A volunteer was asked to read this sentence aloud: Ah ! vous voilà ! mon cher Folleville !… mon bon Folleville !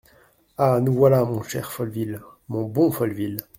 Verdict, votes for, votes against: rejected, 1, 2